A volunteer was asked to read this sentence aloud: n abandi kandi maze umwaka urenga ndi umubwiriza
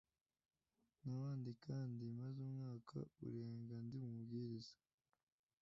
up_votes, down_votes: 1, 2